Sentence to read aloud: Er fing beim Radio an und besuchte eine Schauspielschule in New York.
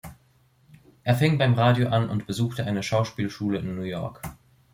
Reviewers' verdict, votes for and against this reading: accepted, 2, 0